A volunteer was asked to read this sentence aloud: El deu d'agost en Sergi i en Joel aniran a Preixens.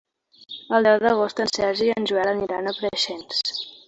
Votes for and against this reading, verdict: 2, 0, accepted